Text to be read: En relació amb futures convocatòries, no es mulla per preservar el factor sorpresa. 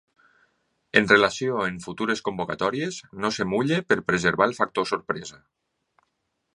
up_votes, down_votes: 1, 2